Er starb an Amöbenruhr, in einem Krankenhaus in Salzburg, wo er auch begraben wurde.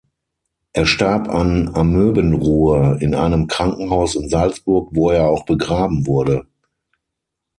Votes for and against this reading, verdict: 6, 0, accepted